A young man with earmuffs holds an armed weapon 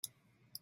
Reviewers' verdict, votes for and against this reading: rejected, 0, 3